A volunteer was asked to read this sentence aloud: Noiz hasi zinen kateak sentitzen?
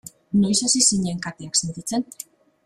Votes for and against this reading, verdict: 2, 0, accepted